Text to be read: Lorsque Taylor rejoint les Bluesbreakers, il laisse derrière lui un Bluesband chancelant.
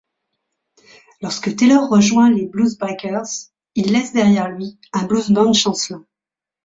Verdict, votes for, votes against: rejected, 1, 2